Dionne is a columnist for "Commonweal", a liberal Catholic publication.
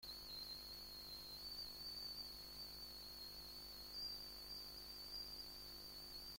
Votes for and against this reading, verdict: 0, 2, rejected